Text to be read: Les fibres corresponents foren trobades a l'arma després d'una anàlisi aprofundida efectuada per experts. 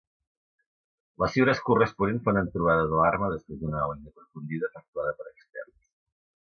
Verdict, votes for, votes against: rejected, 0, 2